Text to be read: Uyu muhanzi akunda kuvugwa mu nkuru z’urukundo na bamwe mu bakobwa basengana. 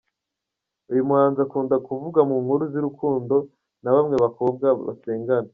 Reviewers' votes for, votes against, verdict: 1, 2, rejected